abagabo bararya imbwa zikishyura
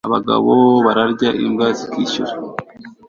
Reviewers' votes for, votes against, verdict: 2, 0, accepted